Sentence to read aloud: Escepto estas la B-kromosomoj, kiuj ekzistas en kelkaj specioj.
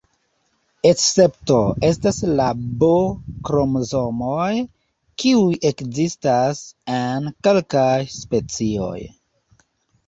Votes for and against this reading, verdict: 0, 2, rejected